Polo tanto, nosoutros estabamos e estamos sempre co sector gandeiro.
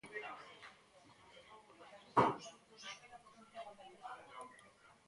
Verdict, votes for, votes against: rejected, 0, 2